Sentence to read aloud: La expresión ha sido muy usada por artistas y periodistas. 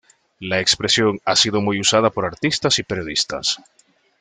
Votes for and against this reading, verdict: 2, 0, accepted